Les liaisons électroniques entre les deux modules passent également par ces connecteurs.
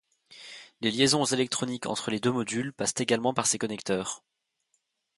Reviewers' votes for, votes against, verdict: 2, 0, accepted